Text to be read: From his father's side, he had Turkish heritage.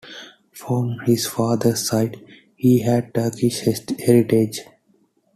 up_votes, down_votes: 2, 1